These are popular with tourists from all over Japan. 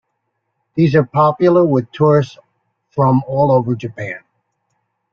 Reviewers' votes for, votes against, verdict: 2, 0, accepted